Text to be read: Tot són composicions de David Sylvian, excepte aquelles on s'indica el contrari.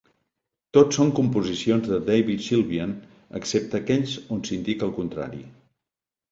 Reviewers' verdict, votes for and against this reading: rejected, 1, 2